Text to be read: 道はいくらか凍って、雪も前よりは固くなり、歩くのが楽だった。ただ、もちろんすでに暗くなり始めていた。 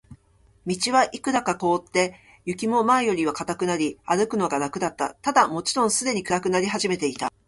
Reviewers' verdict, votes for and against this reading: accepted, 2, 0